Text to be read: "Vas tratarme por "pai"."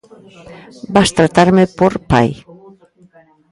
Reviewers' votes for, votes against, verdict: 1, 2, rejected